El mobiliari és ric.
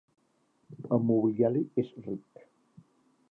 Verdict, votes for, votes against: accepted, 2, 0